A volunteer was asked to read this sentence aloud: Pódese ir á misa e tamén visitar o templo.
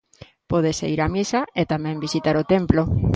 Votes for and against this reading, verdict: 0, 2, rejected